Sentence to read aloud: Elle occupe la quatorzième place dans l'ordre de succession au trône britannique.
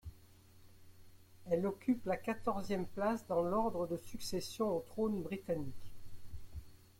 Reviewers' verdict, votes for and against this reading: accepted, 2, 0